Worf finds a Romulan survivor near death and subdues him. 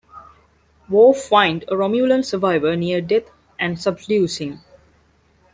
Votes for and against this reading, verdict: 1, 2, rejected